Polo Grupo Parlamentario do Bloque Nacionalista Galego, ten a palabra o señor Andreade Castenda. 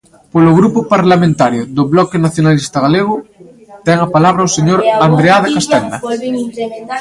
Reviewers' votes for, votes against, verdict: 1, 2, rejected